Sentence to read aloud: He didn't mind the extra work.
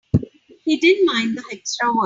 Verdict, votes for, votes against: rejected, 0, 3